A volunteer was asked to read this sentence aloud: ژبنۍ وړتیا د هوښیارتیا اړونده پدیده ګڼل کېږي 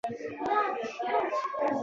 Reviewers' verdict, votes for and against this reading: accepted, 2, 0